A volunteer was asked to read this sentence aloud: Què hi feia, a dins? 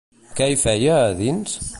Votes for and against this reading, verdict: 2, 0, accepted